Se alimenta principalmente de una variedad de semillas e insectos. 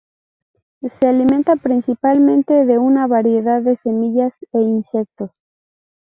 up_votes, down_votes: 2, 0